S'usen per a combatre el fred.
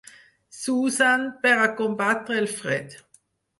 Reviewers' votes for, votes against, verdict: 4, 0, accepted